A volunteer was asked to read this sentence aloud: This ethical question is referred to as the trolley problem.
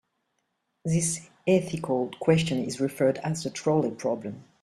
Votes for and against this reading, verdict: 1, 2, rejected